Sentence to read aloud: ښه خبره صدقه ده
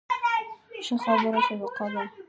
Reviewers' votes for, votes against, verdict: 0, 2, rejected